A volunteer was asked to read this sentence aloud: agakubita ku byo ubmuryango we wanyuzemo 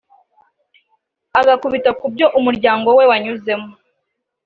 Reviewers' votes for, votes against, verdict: 2, 1, accepted